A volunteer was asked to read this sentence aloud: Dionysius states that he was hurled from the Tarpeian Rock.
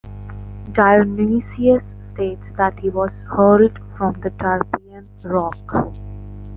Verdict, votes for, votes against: rejected, 1, 2